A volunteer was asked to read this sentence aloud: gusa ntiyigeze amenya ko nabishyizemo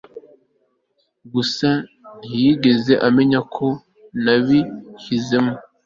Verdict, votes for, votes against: accepted, 2, 0